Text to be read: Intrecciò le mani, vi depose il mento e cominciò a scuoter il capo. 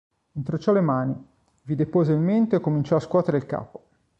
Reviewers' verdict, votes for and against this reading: rejected, 1, 3